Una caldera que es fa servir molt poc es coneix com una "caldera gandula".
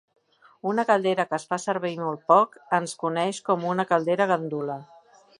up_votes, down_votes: 2, 1